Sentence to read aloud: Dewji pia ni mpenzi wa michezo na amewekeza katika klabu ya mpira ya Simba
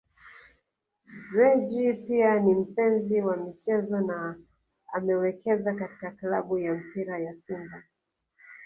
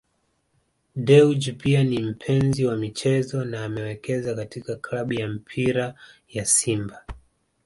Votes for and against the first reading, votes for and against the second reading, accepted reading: 1, 2, 2, 0, second